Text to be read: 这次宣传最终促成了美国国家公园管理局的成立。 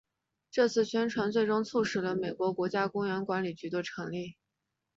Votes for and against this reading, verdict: 2, 0, accepted